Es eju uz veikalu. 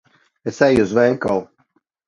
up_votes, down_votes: 2, 0